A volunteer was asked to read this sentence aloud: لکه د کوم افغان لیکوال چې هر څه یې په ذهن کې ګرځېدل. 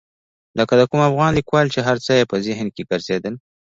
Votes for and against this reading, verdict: 1, 2, rejected